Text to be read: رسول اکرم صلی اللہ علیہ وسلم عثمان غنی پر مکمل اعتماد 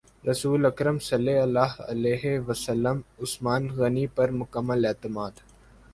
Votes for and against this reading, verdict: 3, 0, accepted